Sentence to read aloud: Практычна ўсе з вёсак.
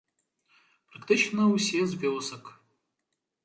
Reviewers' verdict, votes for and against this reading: accepted, 2, 0